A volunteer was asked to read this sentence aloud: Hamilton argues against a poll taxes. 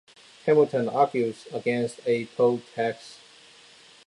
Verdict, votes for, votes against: rejected, 0, 2